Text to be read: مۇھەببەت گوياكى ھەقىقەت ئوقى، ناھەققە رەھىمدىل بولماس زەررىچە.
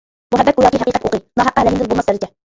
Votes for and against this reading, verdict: 0, 2, rejected